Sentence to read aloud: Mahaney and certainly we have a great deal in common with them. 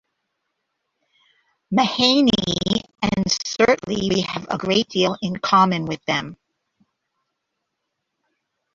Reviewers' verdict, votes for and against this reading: accepted, 2, 1